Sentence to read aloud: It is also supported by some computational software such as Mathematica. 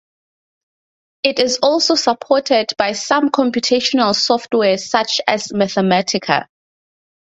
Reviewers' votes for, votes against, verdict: 2, 0, accepted